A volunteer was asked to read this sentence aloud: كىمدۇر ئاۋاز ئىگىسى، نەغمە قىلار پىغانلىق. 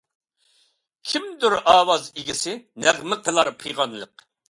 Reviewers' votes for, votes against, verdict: 2, 0, accepted